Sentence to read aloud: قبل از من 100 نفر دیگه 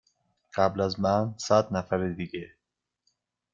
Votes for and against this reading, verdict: 0, 2, rejected